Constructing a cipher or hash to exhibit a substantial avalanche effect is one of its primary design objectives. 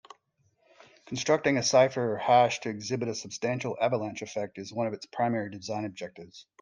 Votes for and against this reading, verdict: 2, 0, accepted